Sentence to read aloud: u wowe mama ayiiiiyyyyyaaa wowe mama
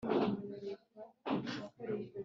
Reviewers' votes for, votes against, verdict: 1, 4, rejected